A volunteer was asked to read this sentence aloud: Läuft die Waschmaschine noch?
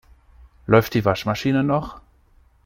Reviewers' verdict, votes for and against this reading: accepted, 2, 0